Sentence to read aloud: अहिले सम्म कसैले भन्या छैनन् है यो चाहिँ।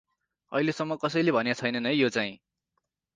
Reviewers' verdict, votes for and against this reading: accepted, 4, 0